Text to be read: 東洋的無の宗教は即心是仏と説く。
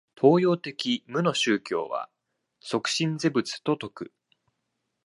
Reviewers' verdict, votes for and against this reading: accepted, 2, 1